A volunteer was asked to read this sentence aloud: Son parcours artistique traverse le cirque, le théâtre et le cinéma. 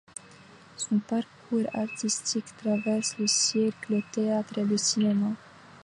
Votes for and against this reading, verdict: 2, 1, accepted